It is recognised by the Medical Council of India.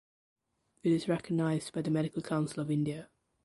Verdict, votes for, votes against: accepted, 2, 0